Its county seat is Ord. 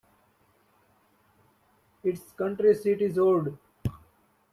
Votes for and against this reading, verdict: 1, 2, rejected